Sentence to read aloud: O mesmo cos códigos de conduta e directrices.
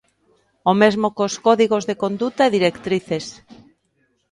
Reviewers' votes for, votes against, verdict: 2, 0, accepted